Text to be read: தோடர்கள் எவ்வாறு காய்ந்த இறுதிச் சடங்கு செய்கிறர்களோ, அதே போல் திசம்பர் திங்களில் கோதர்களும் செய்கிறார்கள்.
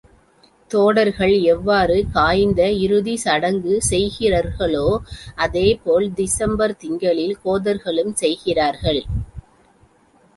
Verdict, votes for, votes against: accepted, 2, 0